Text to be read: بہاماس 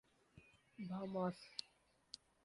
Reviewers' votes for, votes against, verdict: 0, 2, rejected